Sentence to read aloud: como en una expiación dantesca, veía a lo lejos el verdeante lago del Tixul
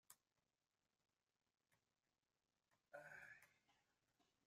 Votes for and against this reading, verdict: 0, 2, rejected